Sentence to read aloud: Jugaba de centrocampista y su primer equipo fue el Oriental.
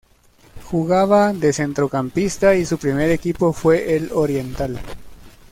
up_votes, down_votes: 2, 0